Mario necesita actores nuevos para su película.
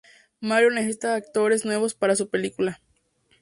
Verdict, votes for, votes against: accepted, 2, 0